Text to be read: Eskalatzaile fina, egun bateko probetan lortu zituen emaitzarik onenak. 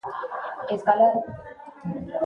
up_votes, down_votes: 0, 2